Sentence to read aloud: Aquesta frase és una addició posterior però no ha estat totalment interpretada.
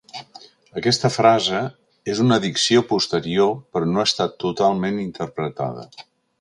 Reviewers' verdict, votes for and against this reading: rejected, 1, 2